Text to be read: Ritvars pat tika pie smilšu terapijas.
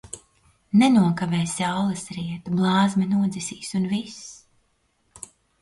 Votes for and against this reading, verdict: 0, 2, rejected